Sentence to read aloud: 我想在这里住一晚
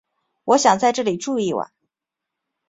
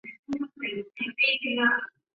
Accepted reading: first